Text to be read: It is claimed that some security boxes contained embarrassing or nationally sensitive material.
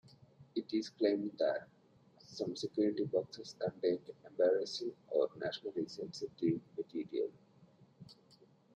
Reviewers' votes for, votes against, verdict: 2, 0, accepted